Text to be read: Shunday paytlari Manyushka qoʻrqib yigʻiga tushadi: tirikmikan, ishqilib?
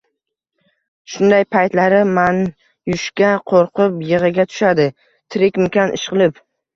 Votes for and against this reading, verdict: 1, 2, rejected